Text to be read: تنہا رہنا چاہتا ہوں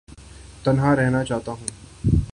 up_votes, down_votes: 4, 0